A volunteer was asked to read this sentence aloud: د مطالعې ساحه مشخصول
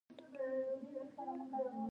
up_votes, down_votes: 1, 2